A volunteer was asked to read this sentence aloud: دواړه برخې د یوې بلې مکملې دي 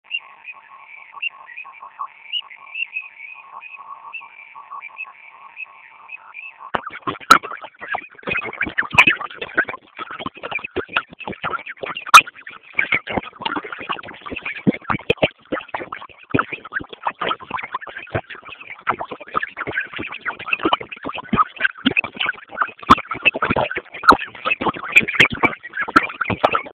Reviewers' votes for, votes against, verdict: 0, 2, rejected